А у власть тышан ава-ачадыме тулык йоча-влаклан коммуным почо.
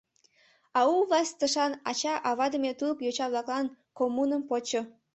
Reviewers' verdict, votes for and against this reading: rejected, 1, 2